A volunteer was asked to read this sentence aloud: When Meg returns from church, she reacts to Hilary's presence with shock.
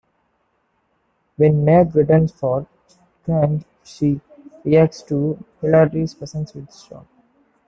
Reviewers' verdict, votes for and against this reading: rejected, 1, 2